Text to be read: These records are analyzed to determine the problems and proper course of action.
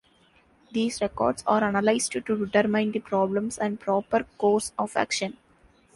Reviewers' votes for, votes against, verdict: 4, 1, accepted